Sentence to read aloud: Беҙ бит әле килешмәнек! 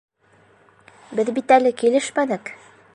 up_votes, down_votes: 2, 0